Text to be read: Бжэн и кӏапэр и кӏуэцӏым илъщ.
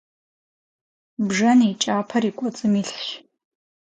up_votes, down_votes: 4, 0